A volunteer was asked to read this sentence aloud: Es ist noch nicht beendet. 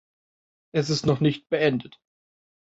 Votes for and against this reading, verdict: 2, 0, accepted